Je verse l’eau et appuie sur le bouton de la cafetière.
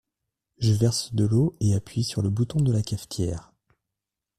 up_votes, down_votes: 1, 2